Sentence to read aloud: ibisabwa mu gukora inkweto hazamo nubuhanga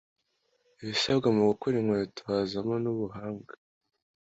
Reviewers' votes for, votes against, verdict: 2, 0, accepted